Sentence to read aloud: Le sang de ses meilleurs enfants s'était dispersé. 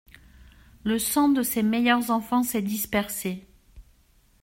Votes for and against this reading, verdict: 1, 2, rejected